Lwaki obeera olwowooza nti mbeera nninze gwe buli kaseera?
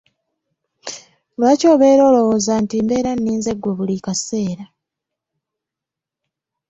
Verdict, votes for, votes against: accepted, 2, 0